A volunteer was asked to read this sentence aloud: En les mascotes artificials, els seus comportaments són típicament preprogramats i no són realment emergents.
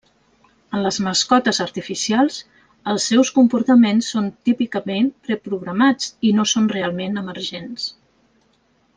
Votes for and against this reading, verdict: 3, 0, accepted